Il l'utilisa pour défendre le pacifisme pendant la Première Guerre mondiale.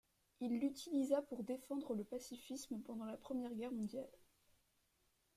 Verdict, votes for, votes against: rejected, 1, 2